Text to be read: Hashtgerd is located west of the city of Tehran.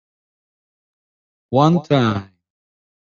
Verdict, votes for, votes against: rejected, 0, 2